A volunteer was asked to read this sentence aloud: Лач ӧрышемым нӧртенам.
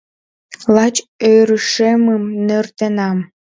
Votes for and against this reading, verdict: 2, 0, accepted